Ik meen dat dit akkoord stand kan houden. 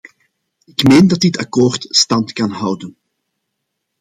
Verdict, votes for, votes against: accepted, 2, 0